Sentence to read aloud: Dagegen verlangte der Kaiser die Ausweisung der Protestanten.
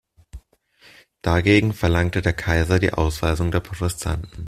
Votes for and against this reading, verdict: 0, 2, rejected